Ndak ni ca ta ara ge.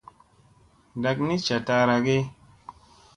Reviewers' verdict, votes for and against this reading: accepted, 2, 0